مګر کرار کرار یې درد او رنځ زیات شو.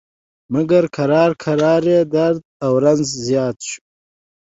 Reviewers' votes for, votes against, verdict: 2, 0, accepted